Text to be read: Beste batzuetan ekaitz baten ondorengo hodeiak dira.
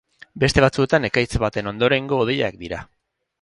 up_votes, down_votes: 0, 2